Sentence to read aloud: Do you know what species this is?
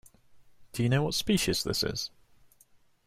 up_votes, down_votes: 2, 0